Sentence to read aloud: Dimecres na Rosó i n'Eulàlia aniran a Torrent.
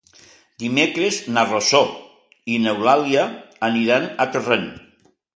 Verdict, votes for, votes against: accepted, 2, 0